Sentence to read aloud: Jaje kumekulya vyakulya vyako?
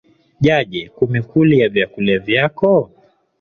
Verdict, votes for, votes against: rejected, 0, 2